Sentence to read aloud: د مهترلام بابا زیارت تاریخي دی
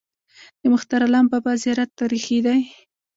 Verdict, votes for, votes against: rejected, 1, 2